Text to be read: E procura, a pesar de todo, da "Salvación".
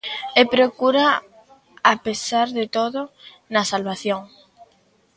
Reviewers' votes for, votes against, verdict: 0, 2, rejected